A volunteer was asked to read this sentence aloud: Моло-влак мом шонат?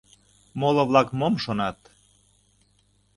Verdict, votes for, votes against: accepted, 2, 0